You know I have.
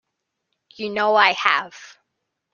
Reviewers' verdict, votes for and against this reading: accepted, 2, 0